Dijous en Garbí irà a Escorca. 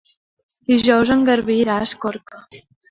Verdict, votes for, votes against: accepted, 2, 0